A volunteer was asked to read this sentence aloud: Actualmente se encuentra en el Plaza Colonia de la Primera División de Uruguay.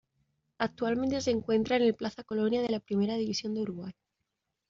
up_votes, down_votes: 2, 0